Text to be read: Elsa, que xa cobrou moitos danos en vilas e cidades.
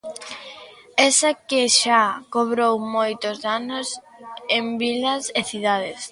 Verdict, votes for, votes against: accepted, 2, 0